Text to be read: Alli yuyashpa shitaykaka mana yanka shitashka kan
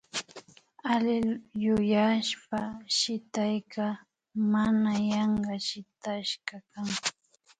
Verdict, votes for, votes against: rejected, 1, 2